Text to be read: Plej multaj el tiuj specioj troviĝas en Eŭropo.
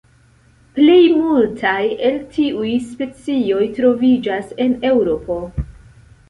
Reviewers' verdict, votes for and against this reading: rejected, 1, 2